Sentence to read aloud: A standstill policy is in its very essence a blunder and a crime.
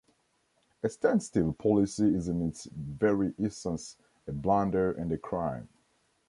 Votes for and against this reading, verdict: 2, 0, accepted